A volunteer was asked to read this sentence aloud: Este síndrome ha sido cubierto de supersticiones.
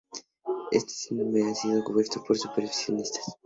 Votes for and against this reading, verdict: 0, 2, rejected